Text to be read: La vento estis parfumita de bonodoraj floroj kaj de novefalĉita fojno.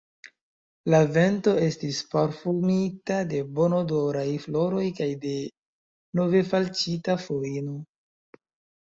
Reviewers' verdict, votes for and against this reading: rejected, 0, 2